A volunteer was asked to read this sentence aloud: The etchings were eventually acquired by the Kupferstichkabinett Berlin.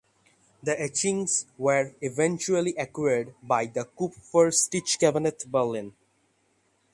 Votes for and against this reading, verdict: 6, 0, accepted